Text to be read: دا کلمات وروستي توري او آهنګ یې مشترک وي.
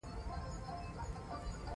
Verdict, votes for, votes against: rejected, 0, 2